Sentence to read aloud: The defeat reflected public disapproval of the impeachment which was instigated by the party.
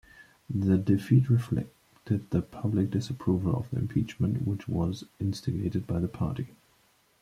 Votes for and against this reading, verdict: 1, 2, rejected